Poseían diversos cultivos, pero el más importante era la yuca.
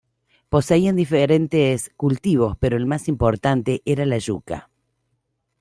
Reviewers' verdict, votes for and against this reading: rejected, 0, 2